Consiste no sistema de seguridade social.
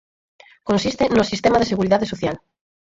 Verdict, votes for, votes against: accepted, 4, 0